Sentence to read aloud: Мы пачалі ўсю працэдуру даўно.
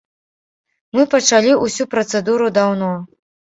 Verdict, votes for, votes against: rejected, 0, 2